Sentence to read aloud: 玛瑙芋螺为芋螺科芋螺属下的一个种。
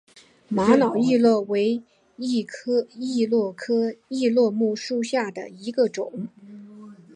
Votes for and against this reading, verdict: 1, 2, rejected